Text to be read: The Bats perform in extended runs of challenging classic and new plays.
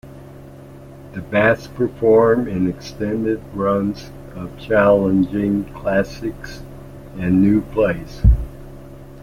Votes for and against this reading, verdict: 1, 2, rejected